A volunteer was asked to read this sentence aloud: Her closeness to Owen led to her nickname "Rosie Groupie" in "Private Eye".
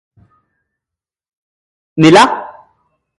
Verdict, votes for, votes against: rejected, 0, 2